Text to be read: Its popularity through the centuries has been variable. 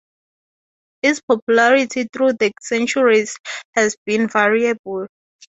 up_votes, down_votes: 2, 0